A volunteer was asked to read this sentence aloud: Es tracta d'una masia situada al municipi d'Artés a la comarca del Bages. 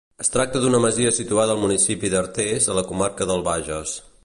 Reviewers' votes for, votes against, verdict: 2, 0, accepted